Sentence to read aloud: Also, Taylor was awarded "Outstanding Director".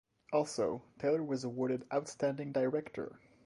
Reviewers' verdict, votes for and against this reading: rejected, 0, 2